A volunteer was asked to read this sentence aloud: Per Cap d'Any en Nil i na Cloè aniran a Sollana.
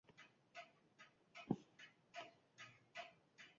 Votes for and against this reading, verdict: 0, 2, rejected